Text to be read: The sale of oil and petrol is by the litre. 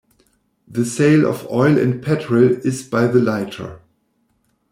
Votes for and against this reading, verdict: 1, 2, rejected